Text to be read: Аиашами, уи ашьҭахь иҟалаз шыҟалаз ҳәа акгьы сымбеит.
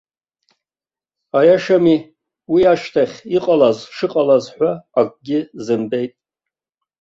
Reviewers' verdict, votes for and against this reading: rejected, 0, 2